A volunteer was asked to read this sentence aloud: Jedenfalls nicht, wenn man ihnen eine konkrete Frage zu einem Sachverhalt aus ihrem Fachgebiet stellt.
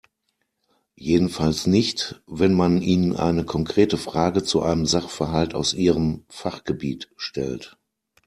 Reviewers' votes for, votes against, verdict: 2, 0, accepted